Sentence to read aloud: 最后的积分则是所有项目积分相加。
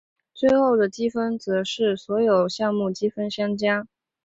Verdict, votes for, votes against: accepted, 2, 0